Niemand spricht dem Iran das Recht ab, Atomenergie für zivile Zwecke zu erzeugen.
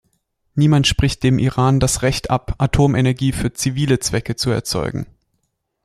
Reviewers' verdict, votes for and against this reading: accepted, 2, 0